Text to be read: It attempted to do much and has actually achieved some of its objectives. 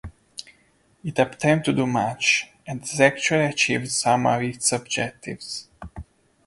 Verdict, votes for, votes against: rejected, 0, 2